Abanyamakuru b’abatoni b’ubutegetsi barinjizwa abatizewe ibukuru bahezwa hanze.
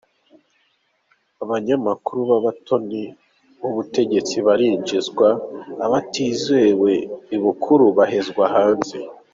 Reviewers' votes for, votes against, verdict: 2, 1, accepted